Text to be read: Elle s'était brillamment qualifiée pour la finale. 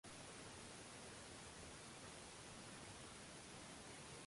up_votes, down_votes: 0, 2